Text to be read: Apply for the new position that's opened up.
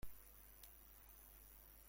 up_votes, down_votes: 0, 2